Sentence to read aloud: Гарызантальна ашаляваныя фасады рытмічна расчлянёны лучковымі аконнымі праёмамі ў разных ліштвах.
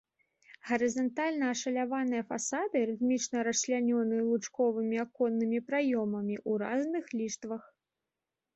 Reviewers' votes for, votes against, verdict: 2, 0, accepted